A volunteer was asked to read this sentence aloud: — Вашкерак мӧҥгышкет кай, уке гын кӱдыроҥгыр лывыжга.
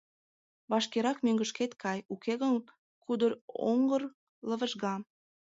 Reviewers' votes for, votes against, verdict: 0, 2, rejected